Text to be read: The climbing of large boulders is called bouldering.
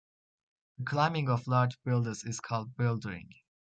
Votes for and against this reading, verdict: 0, 2, rejected